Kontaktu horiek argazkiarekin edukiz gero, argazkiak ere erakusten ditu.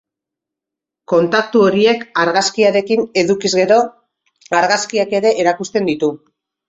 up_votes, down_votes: 2, 0